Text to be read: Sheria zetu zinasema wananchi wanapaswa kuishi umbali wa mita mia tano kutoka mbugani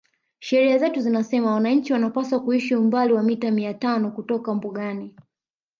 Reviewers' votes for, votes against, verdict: 1, 2, rejected